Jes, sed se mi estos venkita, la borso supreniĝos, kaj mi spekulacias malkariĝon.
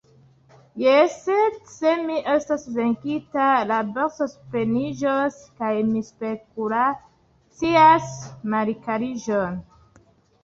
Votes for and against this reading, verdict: 0, 2, rejected